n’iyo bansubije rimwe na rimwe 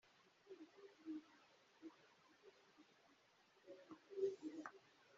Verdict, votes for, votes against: rejected, 0, 3